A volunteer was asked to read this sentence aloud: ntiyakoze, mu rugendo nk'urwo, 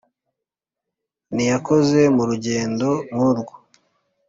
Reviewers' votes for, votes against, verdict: 2, 0, accepted